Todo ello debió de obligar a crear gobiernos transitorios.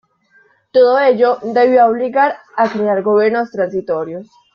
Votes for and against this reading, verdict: 2, 1, accepted